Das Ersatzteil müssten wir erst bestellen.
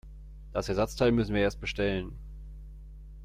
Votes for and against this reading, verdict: 1, 2, rejected